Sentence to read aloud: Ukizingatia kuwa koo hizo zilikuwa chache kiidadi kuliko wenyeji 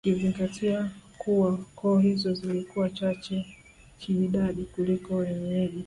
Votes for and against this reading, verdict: 3, 2, accepted